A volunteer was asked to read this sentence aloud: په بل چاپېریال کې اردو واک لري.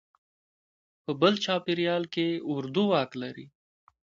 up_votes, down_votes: 0, 2